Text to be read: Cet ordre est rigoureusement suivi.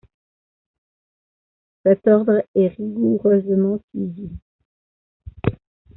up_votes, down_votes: 0, 2